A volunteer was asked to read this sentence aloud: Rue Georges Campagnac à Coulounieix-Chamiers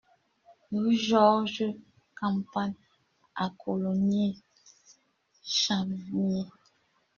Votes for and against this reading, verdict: 0, 2, rejected